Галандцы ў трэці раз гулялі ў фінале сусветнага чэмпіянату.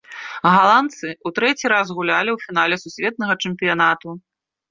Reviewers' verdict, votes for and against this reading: accepted, 2, 0